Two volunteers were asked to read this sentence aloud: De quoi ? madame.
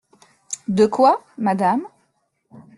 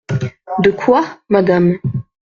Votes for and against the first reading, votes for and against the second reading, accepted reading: 2, 0, 0, 2, first